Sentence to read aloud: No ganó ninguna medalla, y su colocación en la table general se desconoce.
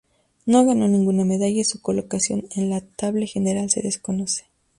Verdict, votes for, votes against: accepted, 2, 0